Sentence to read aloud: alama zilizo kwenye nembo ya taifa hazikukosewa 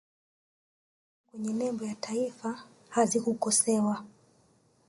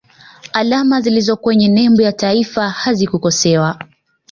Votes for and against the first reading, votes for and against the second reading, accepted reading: 1, 2, 2, 0, second